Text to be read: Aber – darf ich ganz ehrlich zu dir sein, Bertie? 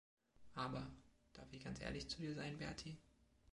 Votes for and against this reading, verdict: 2, 1, accepted